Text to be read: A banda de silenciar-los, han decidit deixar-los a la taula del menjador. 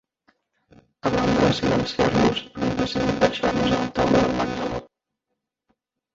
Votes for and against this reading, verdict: 0, 2, rejected